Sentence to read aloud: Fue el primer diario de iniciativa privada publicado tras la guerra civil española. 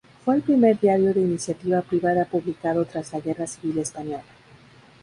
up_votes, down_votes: 2, 2